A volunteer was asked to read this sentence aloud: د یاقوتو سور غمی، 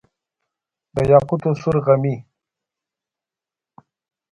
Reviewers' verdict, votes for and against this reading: rejected, 1, 2